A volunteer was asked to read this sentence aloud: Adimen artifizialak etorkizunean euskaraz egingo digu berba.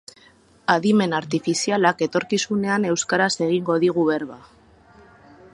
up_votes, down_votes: 2, 0